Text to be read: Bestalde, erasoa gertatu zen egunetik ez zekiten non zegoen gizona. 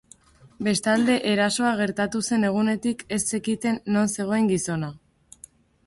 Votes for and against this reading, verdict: 2, 0, accepted